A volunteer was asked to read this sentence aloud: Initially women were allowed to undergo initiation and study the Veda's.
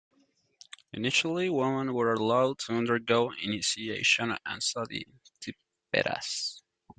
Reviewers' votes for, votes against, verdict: 1, 2, rejected